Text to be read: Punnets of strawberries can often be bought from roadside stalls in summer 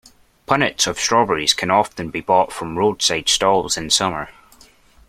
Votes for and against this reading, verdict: 2, 0, accepted